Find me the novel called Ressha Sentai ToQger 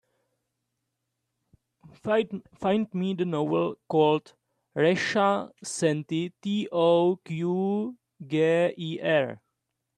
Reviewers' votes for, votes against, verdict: 0, 2, rejected